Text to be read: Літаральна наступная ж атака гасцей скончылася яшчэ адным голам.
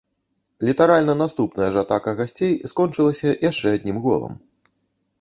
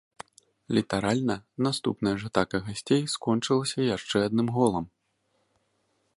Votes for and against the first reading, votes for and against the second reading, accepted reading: 1, 2, 2, 0, second